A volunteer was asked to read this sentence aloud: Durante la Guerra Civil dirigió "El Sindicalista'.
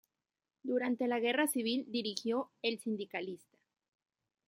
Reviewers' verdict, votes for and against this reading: accepted, 2, 0